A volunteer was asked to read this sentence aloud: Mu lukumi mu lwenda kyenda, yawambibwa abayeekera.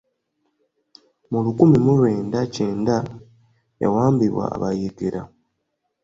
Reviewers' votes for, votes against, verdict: 2, 1, accepted